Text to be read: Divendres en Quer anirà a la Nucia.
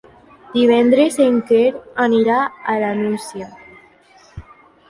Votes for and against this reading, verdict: 3, 1, accepted